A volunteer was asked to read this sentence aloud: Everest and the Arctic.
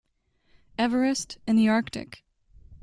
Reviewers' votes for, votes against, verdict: 2, 0, accepted